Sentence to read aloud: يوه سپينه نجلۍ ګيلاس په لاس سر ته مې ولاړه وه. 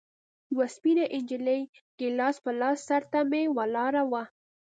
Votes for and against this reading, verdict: 2, 0, accepted